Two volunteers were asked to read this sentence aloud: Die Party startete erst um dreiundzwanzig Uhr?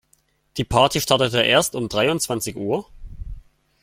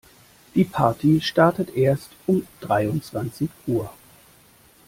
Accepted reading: first